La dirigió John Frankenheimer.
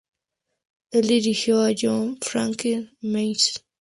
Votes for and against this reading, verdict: 0, 2, rejected